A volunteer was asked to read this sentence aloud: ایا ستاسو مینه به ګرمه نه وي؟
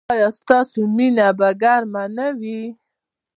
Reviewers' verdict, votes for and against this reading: accepted, 2, 0